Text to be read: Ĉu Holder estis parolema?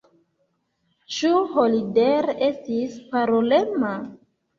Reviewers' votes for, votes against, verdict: 2, 1, accepted